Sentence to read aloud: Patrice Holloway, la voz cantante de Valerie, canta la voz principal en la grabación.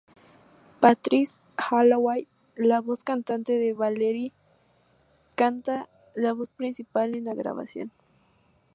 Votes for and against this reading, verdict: 2, 2, rejected